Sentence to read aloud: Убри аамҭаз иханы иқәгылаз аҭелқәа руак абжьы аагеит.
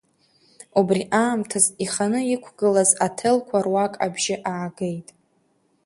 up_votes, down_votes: 2, 0